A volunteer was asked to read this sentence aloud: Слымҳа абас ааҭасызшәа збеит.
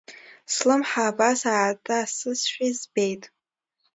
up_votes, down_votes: 2, 0